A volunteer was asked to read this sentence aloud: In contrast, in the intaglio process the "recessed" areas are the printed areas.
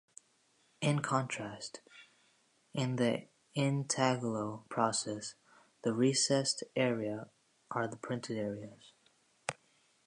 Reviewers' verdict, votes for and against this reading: rejected, 1, 2